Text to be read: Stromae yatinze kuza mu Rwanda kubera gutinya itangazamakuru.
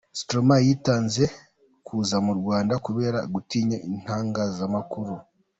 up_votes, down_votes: 2, 0